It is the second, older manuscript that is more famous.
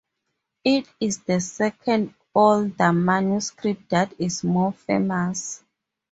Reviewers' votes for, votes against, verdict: 2, 0, accepted